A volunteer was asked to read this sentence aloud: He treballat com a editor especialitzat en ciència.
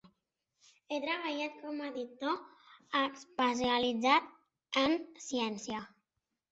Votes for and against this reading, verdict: 0, 2, rejected